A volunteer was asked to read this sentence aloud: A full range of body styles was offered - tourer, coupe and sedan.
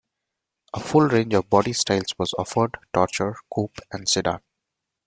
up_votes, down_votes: 0, 2